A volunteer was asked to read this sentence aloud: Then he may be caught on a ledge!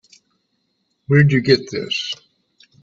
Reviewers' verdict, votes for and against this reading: rejected, 0, 3